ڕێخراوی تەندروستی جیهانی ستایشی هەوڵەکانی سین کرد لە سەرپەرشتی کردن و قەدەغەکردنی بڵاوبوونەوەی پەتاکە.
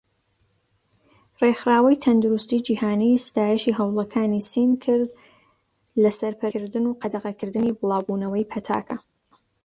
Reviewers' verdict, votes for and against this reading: rejected, 0, 2